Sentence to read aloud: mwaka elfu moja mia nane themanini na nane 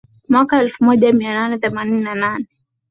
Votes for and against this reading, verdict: 4, 0, accepted